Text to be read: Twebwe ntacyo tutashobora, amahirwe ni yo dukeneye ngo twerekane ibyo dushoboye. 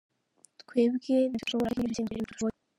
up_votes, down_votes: 0, 2